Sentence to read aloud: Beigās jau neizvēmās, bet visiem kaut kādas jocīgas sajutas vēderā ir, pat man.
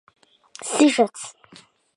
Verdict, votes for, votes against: rejected, 0, 2